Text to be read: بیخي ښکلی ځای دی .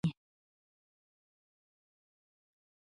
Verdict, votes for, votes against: rejected, 0, 2